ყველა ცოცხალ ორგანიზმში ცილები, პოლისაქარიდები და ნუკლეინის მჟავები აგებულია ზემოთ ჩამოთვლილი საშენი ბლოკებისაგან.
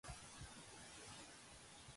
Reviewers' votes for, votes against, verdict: 1, 2, rejected